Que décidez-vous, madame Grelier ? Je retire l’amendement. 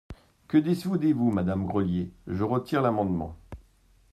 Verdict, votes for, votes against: rejected, 0, 3